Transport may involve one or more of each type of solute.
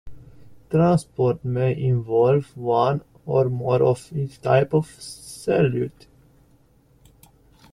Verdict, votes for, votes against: rejected, 0, 2